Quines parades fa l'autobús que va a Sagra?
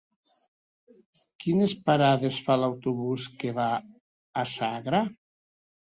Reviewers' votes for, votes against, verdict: 2, 0, accepted